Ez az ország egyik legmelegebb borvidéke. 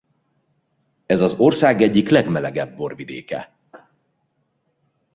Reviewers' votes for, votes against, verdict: 2, 0, accepted